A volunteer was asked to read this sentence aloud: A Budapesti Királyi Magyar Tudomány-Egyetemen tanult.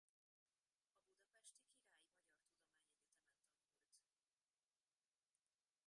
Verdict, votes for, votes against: rejected, 0, 2